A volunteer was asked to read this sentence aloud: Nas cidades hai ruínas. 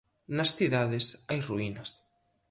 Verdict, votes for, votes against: accepted, 4, 0